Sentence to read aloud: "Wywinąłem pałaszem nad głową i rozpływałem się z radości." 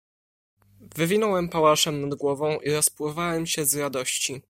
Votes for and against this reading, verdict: 2, 0, accepted